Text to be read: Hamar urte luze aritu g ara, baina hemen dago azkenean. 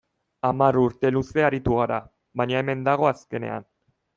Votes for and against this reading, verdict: 2, 0, accepted